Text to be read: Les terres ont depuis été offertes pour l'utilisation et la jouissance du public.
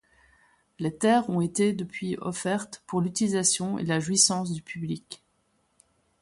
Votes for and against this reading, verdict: 2, 1, accepted